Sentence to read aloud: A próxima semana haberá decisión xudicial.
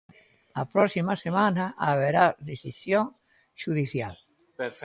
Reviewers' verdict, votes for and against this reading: rejected, 1, 2